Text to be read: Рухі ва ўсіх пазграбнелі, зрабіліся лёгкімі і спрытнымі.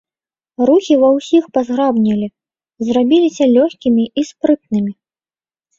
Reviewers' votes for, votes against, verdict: 0, 2, rejected